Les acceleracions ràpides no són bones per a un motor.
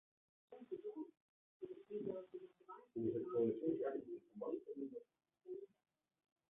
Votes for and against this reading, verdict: 0, 2, rejected